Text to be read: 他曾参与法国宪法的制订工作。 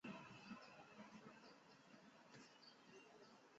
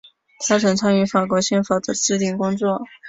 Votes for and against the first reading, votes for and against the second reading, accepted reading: 0, 2, 2, 1, second